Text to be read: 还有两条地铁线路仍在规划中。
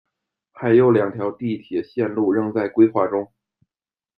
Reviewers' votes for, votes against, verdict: 2, 0, accepted